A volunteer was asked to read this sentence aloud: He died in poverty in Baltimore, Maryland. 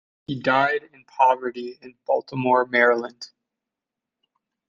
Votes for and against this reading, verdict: 2, 0, accepted